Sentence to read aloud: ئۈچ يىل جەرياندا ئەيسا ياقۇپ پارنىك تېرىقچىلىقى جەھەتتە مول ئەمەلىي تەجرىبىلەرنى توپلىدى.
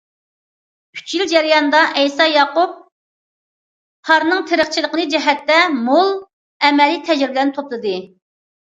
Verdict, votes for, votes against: rejected, 0, 2